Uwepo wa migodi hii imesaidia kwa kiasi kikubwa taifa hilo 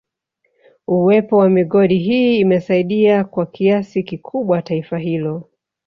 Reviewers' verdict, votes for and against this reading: rejected, 1, 2